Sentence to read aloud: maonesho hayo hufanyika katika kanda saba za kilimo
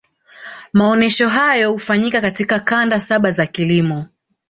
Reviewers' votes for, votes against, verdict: 2, 0, accepted